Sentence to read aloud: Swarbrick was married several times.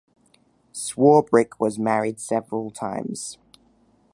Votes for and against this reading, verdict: 2, 0, accepted